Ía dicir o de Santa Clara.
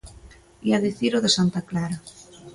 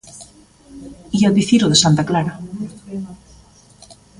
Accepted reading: first